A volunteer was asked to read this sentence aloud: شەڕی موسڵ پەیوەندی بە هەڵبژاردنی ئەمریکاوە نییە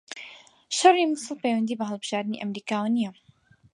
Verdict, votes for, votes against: accepted, 4, 0